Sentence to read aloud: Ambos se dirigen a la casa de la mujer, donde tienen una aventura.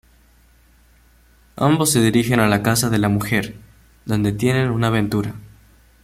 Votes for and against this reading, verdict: 2, 1, accepted